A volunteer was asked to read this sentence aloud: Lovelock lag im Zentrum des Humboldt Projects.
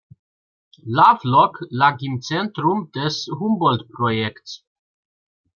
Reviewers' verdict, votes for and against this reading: accepted, 2, 1